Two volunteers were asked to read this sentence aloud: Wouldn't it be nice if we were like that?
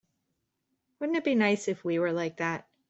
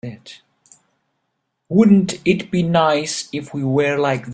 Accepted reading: first